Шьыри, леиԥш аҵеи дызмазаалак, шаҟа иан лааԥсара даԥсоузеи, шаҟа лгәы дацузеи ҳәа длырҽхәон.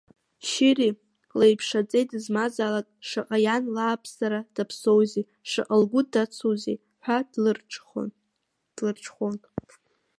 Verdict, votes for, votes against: rejected, 0, 2